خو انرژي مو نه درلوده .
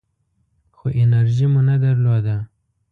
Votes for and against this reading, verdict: 2, 0, accepted